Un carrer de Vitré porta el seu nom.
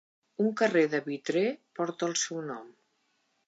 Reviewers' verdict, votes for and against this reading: accepted, 3, 0